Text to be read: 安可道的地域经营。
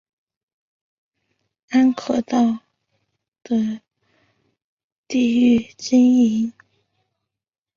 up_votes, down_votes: 0, 2